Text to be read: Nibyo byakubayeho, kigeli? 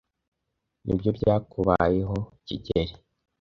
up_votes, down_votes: 2, 0